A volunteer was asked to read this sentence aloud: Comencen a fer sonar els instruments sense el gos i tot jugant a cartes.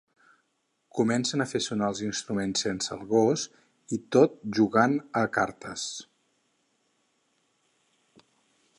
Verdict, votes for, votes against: accepted, 6, 0